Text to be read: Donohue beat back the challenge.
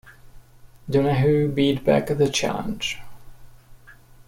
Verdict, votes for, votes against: accepted, 2, 0